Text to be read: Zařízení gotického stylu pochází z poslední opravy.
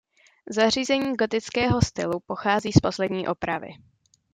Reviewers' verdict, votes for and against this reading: accepted, 2, 0